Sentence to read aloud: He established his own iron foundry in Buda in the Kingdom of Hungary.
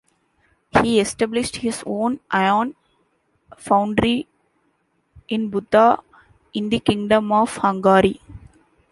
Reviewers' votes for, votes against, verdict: 0, 2, rejected